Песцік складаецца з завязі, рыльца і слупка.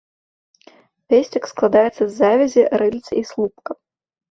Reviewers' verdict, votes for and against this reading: rejected, 0, 2